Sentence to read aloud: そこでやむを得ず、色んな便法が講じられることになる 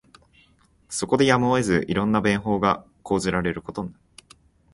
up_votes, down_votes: 0, 3